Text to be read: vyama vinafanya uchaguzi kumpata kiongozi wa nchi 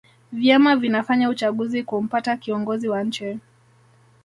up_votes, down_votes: 2, 0